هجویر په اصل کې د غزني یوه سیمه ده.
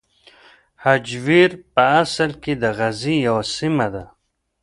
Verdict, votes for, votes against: rejected, 1, 2